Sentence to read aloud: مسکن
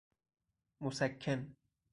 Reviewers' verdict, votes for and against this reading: rejected, 2, 2